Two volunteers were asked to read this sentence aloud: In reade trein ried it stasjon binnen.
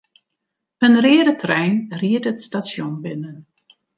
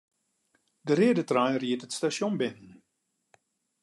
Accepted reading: first